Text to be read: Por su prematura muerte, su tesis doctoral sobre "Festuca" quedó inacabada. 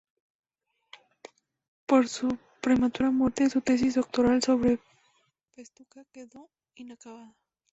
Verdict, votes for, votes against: rejected, 0, 2